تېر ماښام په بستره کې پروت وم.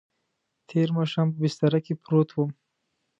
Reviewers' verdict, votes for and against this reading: accepted, 2, 0